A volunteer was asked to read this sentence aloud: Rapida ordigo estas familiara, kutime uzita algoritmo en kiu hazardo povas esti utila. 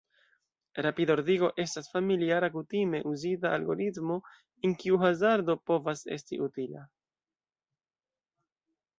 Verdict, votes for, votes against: rejected, 1, 2